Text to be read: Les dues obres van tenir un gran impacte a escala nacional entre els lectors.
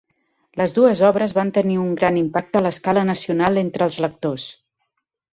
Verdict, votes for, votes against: rejected, 0, 2